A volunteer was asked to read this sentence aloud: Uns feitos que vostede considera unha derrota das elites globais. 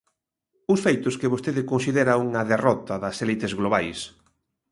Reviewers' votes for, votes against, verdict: 1, 2, rejected